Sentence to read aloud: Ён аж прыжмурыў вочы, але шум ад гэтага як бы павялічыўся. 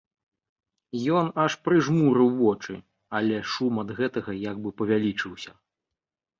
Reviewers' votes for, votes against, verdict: 2, 1, accepted